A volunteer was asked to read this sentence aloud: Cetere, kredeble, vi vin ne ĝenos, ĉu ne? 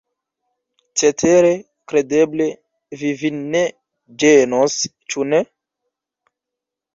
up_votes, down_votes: 1, 2